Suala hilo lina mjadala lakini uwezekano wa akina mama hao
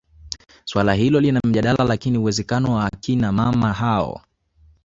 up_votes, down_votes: 3, 1